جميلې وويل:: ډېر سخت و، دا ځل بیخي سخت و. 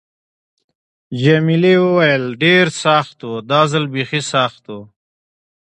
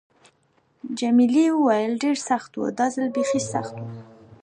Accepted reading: first